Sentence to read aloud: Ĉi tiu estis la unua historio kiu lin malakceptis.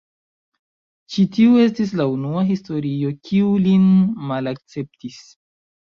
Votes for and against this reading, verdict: 1, 2, rejected